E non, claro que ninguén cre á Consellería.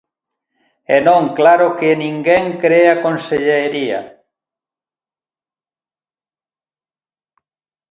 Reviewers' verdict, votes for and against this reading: accepted, 2, 1